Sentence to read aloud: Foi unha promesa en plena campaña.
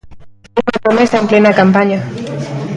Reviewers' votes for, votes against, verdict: 0, 2, rejected